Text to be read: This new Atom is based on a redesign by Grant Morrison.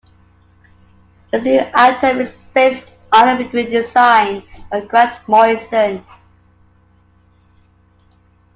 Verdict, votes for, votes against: accepted, 2, 0